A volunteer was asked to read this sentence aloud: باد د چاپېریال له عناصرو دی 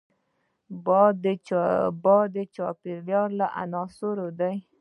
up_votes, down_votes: 2, 0